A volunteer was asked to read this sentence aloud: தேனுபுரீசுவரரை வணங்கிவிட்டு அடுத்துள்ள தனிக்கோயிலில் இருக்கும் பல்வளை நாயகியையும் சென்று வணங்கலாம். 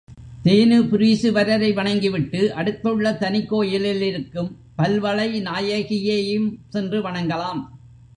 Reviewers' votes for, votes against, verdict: 2, 0, accepted